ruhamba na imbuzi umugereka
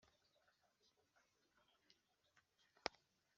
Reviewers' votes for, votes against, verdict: 0, 2, rejected